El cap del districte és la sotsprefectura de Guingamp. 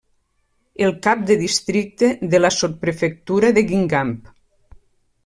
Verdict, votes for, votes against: rejected, 1, 2